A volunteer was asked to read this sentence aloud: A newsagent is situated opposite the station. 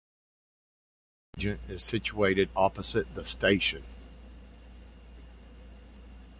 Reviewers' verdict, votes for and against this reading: rejected, 0, 2